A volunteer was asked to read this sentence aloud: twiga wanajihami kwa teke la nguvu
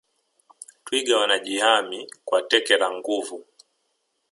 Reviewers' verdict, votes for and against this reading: accepted, 2, 0